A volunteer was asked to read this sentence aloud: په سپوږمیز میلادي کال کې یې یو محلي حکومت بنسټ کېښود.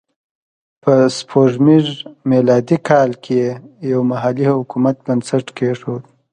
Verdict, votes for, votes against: accepted, 3, 0